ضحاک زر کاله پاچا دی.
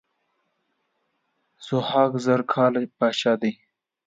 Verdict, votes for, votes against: accepted, 2, 1